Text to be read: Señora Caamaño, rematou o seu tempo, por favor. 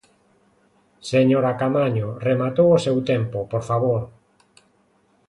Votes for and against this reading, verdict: 2, 0, accepted